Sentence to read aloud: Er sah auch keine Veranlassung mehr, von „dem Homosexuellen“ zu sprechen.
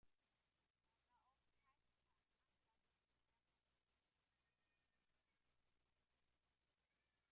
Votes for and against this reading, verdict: 0, 2, rejected